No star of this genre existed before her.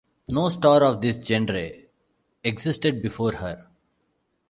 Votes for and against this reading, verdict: 1, 2, rejected